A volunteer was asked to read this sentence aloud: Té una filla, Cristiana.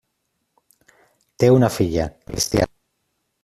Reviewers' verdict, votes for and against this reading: rejected, 0, 2